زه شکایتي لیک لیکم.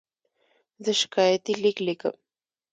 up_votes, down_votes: 2, 0